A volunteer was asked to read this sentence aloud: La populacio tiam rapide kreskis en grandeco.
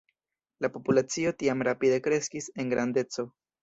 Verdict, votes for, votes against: rejected, 1, 2